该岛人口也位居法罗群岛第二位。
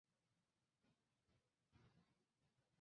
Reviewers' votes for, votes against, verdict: 0, 3, rejected